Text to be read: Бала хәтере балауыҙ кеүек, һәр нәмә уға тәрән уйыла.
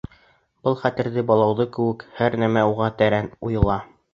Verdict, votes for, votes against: accepted, 2, 1